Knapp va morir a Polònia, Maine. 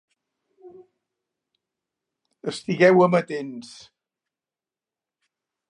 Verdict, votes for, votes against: rejected, 0, 2